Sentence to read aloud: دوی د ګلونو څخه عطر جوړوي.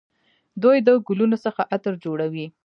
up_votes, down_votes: 0, 2